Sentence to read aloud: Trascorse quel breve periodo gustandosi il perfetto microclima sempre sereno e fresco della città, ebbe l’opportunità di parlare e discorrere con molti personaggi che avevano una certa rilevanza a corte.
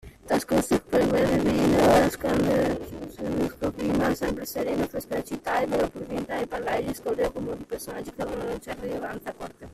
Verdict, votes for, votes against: rejected, 0, 2